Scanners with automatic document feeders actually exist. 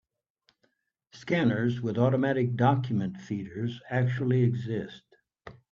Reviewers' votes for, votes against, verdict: 4, 0, accepted